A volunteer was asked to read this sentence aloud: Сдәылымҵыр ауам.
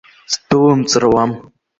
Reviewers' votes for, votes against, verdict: 2, 0, accepted